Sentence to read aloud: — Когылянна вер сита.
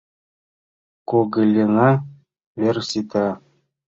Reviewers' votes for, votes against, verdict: 1, 2, rejected